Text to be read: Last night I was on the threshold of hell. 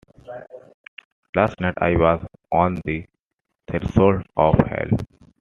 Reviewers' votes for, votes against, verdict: 1, 2, rejected